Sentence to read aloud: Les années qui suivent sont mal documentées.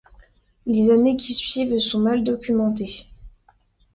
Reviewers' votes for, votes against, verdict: 2, 0, accepted